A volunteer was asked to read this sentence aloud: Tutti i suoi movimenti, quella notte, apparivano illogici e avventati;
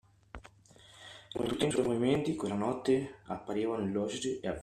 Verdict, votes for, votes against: rejected, 0, 2